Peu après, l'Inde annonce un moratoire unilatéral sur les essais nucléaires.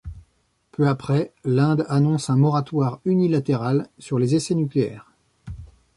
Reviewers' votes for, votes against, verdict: 2, 0, accepted